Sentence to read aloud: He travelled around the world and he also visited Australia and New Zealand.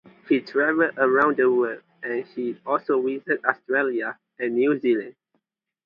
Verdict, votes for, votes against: accepted, 4, 2